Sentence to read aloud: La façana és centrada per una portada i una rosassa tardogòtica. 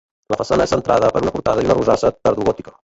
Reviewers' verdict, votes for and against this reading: rejected, 0, 2